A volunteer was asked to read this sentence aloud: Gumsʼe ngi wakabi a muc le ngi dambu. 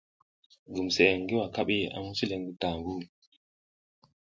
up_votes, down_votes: 1, 2